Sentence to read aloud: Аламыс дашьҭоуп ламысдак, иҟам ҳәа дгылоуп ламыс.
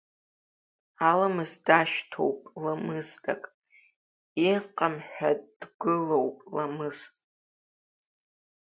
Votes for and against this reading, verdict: 1, 2, rejected